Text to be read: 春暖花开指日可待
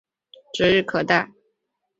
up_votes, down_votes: 0, 2